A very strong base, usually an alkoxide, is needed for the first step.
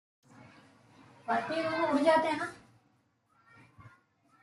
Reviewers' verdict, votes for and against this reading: rejected, 0, 2